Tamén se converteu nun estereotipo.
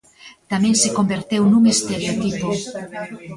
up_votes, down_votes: 0, 2